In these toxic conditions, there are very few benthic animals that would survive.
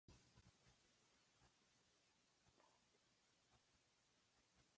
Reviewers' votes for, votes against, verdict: 0, 2, rejected